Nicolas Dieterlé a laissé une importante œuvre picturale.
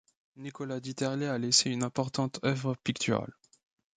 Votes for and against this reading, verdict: 2, 0, accepted